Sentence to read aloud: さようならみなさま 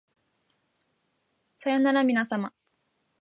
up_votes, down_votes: 2, 0